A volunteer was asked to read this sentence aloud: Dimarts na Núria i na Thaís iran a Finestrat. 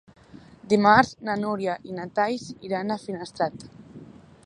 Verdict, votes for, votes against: rejected, 0, 2